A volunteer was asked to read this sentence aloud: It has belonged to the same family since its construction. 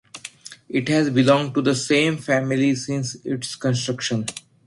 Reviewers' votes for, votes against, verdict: 2, 0, accepted